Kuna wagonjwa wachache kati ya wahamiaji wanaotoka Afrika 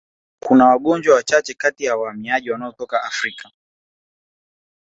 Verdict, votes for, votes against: accepted, 2, 0